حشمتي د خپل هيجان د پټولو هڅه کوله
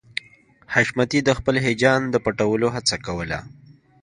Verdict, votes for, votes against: accepted, 2, 0